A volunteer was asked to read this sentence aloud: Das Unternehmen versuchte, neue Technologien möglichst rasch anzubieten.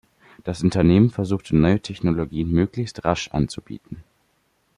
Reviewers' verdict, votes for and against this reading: accepted, 2, 0